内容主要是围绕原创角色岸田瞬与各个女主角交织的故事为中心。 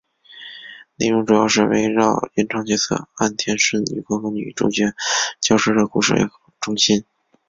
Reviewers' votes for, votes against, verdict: 4, 2, accepted